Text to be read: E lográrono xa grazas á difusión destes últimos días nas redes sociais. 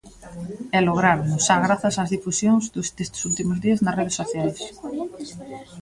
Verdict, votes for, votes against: rejected, 0, 4